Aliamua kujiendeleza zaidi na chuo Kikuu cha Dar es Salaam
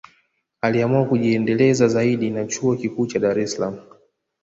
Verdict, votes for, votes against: accepted, 2, 0